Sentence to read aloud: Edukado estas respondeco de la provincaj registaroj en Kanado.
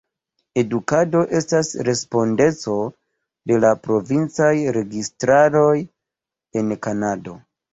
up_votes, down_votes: 0, 2